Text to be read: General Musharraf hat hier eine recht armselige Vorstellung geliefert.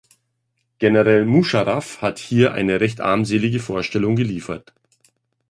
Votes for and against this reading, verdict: 0, 2, rejected